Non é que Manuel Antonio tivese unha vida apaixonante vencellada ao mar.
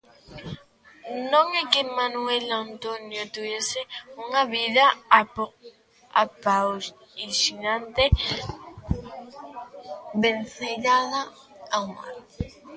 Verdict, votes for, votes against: rejected, 0, 2